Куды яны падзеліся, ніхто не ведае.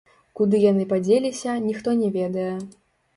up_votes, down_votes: 0, 2